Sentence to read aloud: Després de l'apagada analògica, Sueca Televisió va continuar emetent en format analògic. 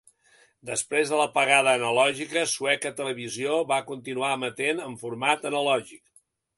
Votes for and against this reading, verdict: 2, 0, accepted